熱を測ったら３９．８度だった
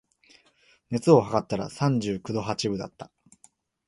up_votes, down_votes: 0, 2